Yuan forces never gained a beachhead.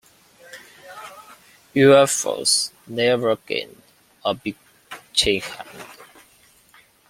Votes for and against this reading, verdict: 1, 2, rejected